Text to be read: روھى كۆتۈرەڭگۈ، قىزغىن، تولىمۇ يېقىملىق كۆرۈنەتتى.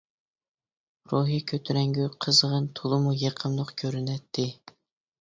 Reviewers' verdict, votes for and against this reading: accepted, 2, 0